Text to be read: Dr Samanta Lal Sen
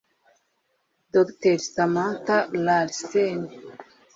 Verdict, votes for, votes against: rejected, 1, 2